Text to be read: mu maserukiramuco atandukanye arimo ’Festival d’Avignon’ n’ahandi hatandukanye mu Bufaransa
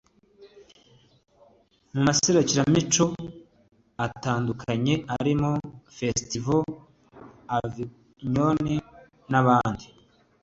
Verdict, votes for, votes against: rejected, 1, 2